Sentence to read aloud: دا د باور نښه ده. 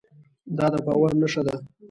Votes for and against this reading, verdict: 2, 0, accepted